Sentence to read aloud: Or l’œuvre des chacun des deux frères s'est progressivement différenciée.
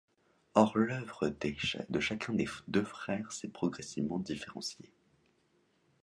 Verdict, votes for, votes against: accepted, 2, 0